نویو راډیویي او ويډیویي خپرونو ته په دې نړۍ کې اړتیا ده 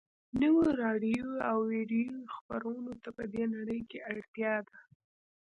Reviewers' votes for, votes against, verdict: 1, 2, rejected